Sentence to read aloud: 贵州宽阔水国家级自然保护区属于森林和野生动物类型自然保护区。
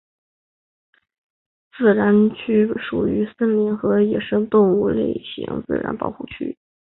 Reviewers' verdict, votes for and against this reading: accepted, 4, 0